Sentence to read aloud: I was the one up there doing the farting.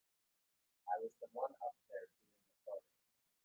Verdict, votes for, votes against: rejected, 0, 2